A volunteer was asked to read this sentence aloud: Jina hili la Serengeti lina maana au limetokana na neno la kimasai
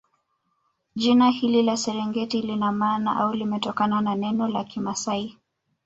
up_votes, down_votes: 1, 2